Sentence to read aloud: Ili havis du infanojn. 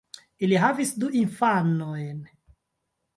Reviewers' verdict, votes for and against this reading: rejected, 1, 2